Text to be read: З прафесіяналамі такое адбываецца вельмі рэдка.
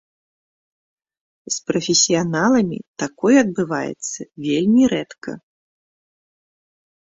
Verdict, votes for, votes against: accepted, 2, 0